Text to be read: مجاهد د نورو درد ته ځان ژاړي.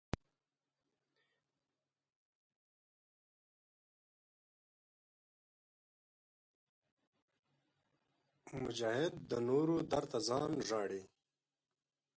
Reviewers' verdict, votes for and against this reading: rejected, 1, 4